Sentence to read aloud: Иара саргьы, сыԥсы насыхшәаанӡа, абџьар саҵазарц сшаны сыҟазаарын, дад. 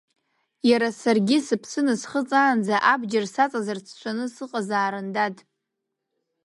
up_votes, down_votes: 0, 2